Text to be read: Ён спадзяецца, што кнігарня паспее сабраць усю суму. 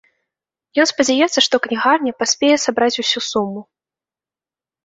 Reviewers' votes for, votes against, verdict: 2, 0, accepted